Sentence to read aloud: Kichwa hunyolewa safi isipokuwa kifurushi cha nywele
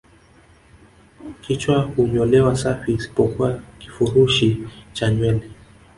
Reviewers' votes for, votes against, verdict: 0, 2, rejected